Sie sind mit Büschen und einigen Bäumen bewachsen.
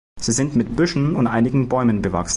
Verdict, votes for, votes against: rejected, 0, 2